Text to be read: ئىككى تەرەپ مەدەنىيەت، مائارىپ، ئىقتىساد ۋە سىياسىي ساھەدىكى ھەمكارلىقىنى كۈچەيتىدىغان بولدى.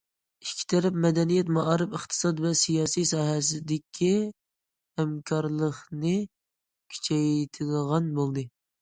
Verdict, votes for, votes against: rejected, 0, 2